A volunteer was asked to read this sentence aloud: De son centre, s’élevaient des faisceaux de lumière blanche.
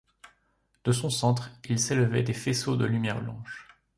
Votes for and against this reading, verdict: 0, 2, rejected